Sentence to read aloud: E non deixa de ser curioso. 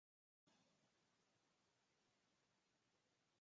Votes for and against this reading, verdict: 0, 3, rejected